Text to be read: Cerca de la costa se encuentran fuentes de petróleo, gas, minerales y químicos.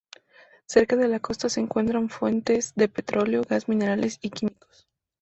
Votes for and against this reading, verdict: 2, 0, accepted